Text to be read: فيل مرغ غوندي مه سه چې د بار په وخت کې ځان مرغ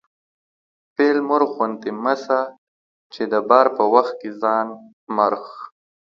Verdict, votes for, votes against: accepted, 2, 0